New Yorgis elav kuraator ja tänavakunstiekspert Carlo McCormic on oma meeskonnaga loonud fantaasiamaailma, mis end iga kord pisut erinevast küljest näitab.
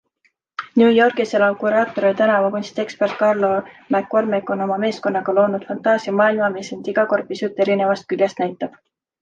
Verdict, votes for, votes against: accepted, 3, 0